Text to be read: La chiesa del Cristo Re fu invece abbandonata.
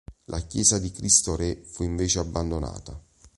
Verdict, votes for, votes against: rejected, 1, 4